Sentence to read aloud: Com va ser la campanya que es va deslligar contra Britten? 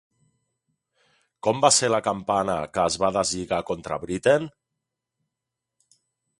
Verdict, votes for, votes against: rejected, 0, 2